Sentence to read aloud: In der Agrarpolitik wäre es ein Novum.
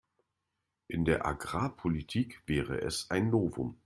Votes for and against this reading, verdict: 2, 0, accepted